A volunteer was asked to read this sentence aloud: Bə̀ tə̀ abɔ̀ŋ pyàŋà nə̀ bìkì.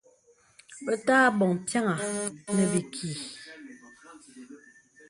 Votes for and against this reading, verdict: 2, 0, accepted